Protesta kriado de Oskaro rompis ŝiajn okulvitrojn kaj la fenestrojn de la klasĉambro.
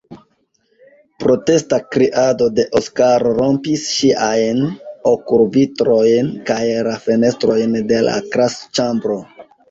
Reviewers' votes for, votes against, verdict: 1, 2, rejected